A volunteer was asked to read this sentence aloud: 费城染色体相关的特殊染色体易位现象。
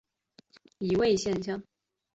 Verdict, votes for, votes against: accepted, 2, 0